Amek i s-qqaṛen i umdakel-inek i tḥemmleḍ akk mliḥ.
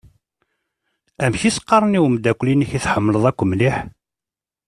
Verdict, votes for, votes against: accepted, 2, 0